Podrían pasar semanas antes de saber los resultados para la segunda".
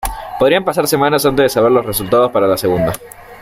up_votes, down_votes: 2, 1